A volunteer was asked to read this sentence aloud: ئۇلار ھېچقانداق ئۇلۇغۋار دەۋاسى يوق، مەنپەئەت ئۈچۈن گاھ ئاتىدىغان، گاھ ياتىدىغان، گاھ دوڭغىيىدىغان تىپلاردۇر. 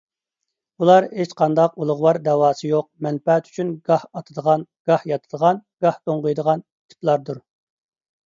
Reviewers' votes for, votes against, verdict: 2, 0, accepted